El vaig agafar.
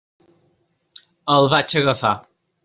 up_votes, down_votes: 3, 0